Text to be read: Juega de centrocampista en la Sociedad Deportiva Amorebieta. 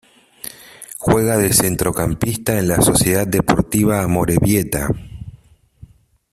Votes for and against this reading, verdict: 2, 0, accepted